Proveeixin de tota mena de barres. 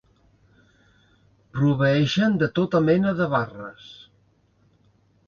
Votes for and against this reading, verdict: 1, 2, rejected